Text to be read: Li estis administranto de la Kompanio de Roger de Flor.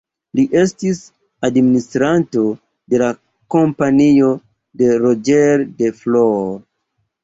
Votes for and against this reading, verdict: 1, 2, rejected